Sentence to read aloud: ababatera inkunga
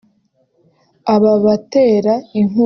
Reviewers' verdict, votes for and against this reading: rejected, 1, 2